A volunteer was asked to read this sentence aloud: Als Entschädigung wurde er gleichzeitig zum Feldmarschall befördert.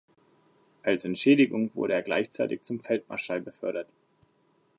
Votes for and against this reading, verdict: 2, 0, accepted